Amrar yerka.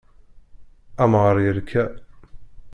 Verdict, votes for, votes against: rejected, 0, 2